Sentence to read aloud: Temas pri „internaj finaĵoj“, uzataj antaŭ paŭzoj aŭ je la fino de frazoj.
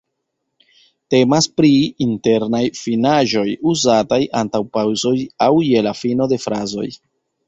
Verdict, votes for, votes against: accepted, 2, 0